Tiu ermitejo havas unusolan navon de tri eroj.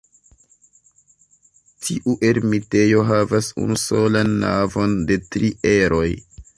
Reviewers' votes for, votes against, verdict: 2, 0, accepted